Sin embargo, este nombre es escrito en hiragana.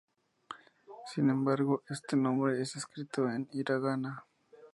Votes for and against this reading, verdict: 2, 0, accepted